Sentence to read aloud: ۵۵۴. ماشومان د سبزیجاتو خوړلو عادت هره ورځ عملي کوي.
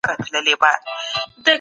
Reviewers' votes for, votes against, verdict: 0, 2, rejected